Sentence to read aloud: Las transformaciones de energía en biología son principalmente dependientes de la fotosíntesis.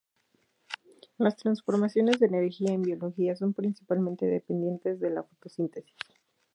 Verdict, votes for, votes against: accepted, 4, 2